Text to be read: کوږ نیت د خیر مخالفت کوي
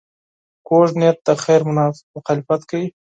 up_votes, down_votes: 2, 4